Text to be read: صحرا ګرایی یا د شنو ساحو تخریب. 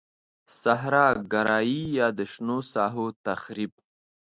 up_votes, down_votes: 2, 0